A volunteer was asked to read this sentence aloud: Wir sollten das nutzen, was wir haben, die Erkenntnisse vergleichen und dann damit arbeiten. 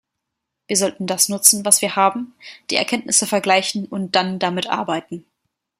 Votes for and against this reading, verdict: 2, 0, accepted